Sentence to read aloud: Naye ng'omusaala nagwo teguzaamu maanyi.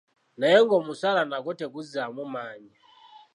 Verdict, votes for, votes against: accepted, 2, 0